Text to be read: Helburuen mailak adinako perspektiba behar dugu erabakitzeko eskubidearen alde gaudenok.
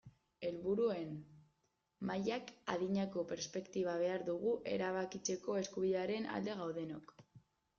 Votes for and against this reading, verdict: 1, 2, rejected